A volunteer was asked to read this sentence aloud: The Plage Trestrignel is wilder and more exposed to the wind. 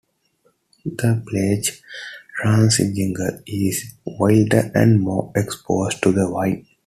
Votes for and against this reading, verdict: 0, 2, rejected